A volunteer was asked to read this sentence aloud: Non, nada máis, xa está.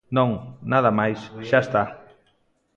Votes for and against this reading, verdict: 2, 0, accepted